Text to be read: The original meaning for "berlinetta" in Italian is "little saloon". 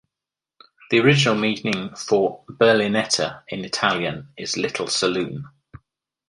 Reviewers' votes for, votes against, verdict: 2, 1, accepted